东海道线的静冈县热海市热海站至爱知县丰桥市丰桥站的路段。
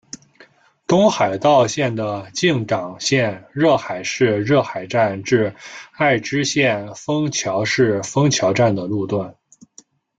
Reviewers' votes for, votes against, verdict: 1, 2, rejected